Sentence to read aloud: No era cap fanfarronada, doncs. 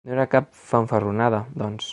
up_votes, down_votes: 4, 0